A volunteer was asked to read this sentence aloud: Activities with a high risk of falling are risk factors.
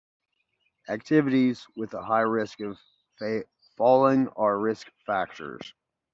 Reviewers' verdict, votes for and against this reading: rejected, 0, 2